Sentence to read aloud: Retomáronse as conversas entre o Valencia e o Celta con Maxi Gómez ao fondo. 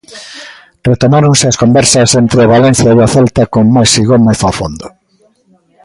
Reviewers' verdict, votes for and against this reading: accepted, 2, 0